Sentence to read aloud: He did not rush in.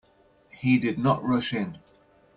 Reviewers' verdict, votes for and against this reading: accepted, 2, 0